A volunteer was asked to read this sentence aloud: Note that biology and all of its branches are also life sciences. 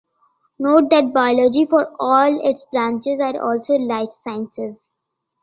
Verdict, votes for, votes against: rejected, 1, 2